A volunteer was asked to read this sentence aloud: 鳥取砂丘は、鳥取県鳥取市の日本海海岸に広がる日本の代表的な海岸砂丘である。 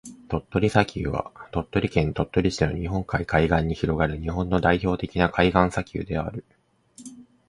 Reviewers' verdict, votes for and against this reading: accepted, 2, 0